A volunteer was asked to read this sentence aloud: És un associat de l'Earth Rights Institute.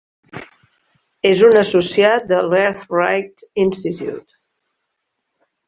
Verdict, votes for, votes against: accepted, 2, 0